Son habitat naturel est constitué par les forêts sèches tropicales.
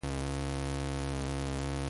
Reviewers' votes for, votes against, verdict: 0, 2, rejected